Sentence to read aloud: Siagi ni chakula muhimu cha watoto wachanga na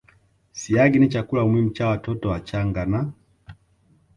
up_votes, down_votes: 2, 0